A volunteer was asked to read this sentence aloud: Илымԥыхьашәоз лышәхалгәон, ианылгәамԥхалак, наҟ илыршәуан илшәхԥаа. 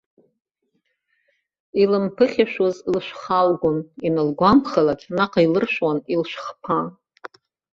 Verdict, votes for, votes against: rejected, 0, 2